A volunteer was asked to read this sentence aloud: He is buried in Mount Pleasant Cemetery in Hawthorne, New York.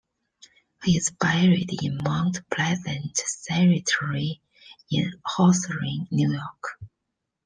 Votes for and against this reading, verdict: 2, 1, accepted